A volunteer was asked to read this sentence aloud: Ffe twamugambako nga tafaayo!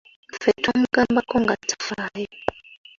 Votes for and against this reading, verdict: 2, 1, accepted